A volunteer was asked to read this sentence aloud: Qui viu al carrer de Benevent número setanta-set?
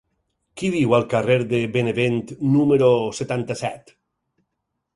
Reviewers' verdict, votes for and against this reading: accepted, 4, 0